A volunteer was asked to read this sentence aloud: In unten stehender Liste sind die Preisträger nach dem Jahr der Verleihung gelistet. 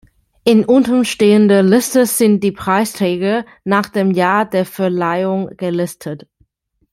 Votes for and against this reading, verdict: 2, 0, accepted